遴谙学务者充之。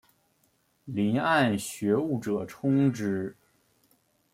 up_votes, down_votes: 0, 2